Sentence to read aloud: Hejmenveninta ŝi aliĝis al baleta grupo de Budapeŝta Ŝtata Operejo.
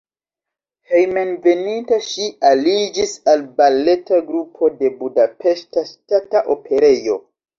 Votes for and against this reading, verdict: 1, 2, rejected